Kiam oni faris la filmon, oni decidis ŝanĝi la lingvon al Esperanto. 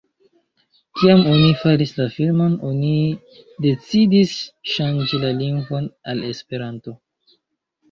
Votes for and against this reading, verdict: 2, 0, accepted